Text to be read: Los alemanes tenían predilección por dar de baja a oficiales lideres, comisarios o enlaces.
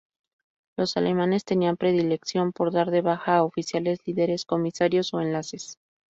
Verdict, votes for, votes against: accepted, 4, 0